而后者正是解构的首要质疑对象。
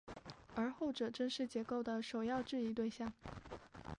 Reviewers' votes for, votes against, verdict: 2, 1, accepted